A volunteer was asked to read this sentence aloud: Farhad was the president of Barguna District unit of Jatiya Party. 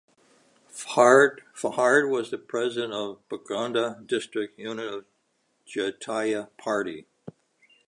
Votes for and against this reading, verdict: 0, 2, rejected